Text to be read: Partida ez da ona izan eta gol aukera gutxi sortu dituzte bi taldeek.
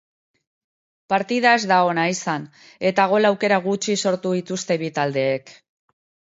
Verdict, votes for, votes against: rejected, 1, 2